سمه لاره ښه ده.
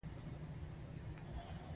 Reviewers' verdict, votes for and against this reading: rejected, 1, 2